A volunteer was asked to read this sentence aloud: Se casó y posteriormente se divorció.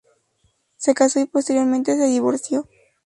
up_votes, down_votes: 4, 0